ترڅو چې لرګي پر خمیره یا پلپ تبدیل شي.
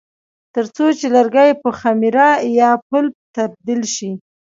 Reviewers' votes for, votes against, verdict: 2, 0, accepted